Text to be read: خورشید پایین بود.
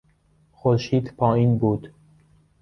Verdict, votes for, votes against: accepted, 2, 1